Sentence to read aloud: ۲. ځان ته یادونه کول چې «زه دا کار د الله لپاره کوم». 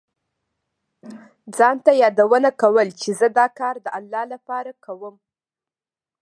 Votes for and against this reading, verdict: 0, 2, rejected